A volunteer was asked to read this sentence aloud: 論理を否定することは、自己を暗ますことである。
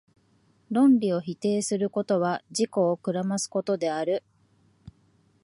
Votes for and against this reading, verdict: 3, 0, accepted